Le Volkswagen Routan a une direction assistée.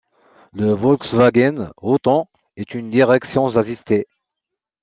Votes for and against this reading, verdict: 1, 2, rejected